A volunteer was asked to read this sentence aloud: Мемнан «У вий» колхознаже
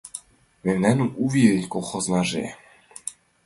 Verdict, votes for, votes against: accepted, 2, 0